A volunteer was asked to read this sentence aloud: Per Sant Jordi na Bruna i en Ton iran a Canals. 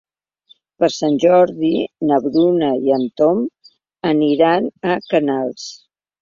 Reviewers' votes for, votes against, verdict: 1, 2, rejected